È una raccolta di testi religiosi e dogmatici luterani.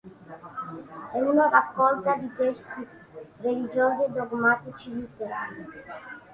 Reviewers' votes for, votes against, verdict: 3, 2, accepted